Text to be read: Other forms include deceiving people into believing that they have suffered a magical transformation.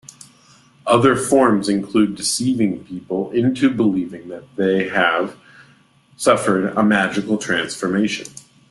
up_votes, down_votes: 2, 0